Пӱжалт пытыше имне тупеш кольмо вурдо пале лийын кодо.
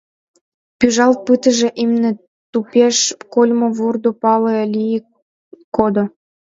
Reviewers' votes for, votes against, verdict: 1, 2, rejected